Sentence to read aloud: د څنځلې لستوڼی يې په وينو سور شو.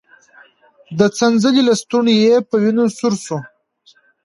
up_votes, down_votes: 2, 0